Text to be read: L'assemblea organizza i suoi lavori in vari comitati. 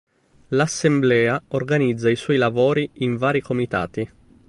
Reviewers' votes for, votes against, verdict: 3, 0, accepted